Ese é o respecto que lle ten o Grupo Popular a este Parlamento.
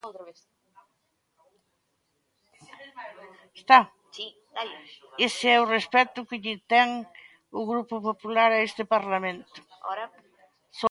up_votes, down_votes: 0, 2